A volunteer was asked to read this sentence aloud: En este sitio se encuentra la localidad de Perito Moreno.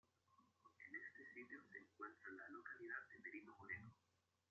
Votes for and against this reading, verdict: 0, 2, rejected